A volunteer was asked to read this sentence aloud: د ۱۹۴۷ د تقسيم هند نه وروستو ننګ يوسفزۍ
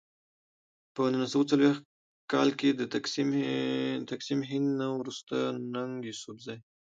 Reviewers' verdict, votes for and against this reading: rejected, 0, 2